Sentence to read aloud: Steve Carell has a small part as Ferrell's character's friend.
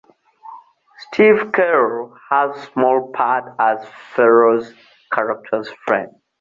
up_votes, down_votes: 2, 0